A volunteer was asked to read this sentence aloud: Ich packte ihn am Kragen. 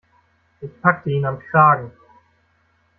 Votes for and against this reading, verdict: 2, 0, accepted